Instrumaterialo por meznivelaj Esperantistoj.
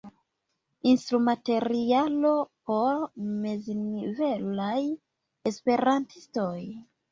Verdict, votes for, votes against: accepted, 2, 1